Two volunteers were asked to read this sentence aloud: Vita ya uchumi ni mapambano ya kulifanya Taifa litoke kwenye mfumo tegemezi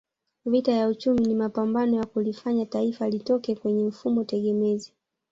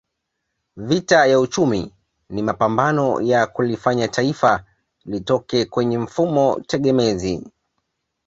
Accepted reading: second